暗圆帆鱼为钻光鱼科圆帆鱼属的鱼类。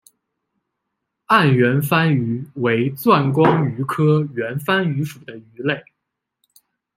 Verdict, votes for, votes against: accepted, 2, 0